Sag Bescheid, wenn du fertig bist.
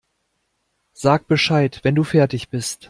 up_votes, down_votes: 2, 0